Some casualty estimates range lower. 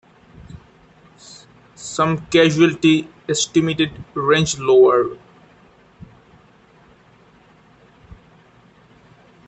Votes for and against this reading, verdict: 0, 2, rejected